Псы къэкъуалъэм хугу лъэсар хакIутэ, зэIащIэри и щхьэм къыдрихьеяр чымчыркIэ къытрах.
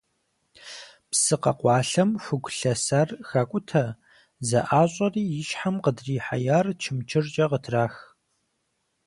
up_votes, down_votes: 4, 0